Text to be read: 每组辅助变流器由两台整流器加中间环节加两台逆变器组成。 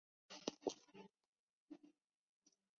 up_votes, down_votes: 0, 3